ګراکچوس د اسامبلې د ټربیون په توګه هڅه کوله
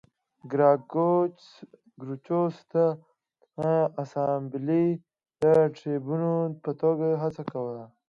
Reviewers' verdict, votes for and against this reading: accepted, 2, 1